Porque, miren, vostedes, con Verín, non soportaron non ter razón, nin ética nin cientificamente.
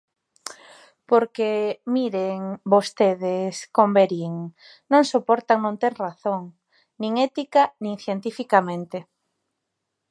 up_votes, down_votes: 0, 2